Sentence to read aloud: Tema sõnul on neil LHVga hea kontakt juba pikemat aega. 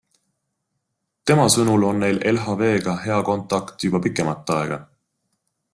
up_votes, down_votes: 2, 0